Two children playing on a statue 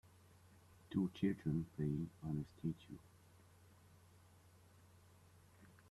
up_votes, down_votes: 3, 0